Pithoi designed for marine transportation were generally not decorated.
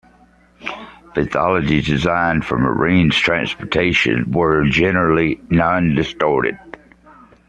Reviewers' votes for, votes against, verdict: 0, 2, rejected